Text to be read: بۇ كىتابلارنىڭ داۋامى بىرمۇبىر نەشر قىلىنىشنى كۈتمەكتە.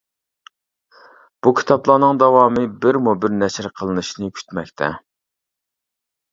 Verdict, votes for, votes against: accepted, 2, 0